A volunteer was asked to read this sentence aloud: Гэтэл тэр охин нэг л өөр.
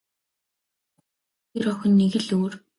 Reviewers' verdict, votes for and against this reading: rejected, 0, 2